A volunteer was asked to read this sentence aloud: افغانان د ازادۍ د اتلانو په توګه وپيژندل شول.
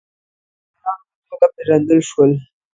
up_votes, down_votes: 0, 2